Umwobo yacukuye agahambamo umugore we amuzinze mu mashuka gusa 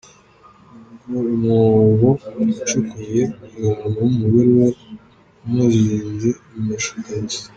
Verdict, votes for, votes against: rejected, 0, 2